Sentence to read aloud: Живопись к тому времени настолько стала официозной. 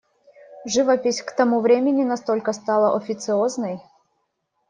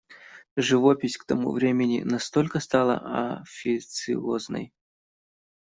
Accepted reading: first